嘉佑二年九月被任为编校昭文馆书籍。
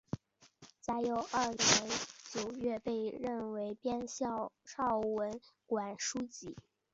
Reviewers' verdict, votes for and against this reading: accepted, 3, 2